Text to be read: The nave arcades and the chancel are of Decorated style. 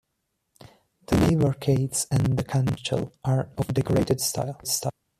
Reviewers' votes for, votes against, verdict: 1, 2, rejected